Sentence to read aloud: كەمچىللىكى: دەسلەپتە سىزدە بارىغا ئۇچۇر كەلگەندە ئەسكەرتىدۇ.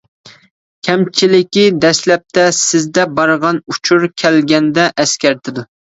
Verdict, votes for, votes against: rejected, 0, 2